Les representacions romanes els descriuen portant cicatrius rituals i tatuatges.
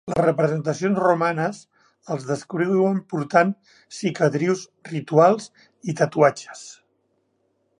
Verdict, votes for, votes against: rejected, 1, 2